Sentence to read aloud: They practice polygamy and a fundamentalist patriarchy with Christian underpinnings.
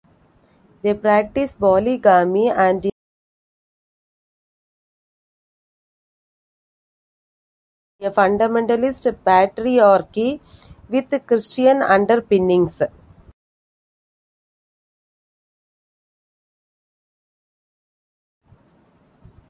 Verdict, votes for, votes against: rejected, 0, 2